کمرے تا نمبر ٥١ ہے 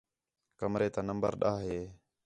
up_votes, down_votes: 0, 2